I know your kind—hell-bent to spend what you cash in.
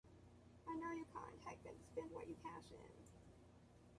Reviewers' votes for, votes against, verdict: 0, 2, rejected